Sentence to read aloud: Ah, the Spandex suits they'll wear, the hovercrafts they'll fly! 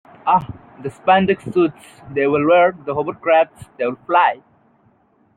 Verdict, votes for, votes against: rejected, 0, 2